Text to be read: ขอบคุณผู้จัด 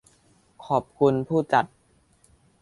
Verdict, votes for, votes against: accepted, 2, 0